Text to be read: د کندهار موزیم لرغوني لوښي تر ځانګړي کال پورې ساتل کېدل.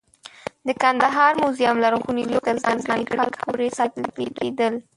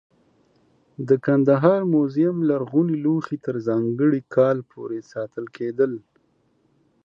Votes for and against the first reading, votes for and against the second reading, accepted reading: 1, 2, 2, 0, second